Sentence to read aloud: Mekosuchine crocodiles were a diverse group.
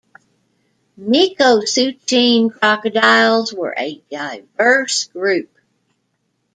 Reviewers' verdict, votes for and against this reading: accepted, 2, 0